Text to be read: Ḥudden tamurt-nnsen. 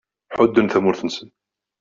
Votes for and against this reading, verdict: 2, 0, accepted